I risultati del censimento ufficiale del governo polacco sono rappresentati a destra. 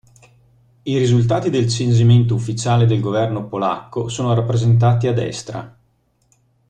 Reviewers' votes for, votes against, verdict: 0, 2, rejected